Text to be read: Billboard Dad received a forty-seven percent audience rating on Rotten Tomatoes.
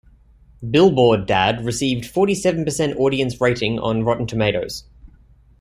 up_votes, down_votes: 0, 2